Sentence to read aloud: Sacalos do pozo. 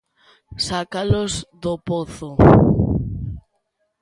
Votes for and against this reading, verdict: 2, 0, accepted